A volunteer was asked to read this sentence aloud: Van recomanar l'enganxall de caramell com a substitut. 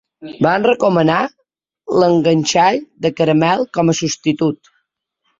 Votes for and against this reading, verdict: 2, 0, accepted